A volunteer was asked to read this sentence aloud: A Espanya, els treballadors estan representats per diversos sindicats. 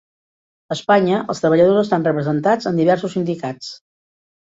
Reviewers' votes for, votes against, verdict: 1, 2, rejected